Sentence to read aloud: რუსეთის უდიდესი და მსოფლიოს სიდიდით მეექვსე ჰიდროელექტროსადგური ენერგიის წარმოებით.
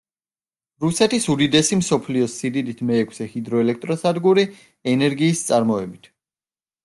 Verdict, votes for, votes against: rejected, 0, 2